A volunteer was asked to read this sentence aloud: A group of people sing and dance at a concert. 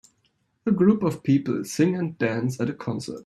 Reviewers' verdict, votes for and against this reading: rejected, 1, 2